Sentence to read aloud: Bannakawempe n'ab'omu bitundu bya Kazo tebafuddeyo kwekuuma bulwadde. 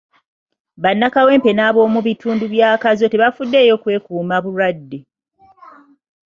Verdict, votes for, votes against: accepted, 2, 0